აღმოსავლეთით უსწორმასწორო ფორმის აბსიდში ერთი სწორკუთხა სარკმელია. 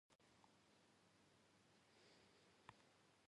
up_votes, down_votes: 0, 2